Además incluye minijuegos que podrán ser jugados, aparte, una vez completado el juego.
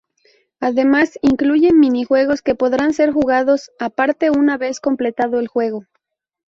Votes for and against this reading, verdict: 0, 2, rejected